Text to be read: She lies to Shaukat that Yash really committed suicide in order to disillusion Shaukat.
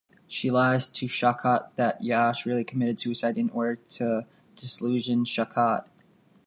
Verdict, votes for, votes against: rejected, 0, 2